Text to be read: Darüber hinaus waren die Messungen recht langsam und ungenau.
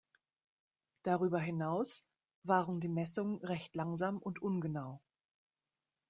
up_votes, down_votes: 2, 0